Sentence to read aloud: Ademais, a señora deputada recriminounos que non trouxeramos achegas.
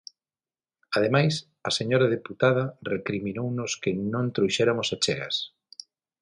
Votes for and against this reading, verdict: 0, 6, rejected